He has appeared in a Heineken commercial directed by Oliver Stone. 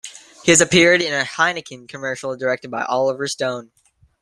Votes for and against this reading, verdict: 2, 1, accepted